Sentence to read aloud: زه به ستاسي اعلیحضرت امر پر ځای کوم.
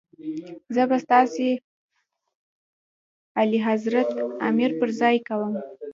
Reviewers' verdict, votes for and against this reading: accepted, 2, 0